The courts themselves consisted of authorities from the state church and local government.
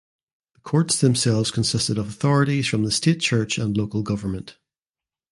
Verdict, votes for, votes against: rejected, 1, 2